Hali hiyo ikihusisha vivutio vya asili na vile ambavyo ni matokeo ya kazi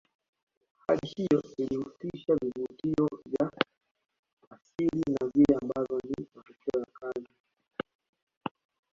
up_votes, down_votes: 0, 2